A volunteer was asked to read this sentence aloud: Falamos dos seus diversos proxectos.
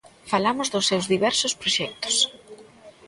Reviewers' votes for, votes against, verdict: 0, 2, rejected